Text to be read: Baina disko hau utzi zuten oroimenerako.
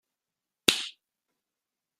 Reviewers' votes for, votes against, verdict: 0, 2, rejected